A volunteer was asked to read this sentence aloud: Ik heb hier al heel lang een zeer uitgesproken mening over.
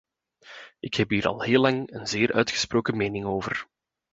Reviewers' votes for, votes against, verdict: 2, 0, accepted